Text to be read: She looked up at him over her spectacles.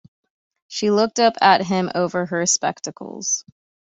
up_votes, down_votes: 2, 0